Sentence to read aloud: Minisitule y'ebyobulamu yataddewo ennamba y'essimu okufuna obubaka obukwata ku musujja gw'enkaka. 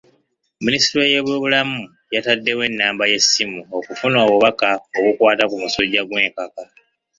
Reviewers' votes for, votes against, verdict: 2, 0, accepted